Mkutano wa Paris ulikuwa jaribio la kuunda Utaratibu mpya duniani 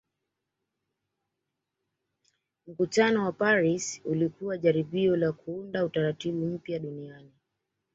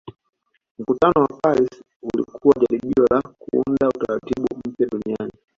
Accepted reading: first